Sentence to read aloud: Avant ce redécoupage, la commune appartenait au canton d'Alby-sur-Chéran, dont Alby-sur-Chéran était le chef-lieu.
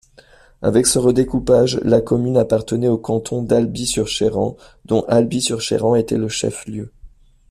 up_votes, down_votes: 0, 2